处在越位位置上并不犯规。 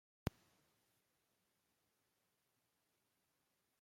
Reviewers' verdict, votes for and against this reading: rejected, 0, 2